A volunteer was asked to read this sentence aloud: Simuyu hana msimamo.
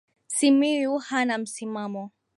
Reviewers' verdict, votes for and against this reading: accepted, 2, 0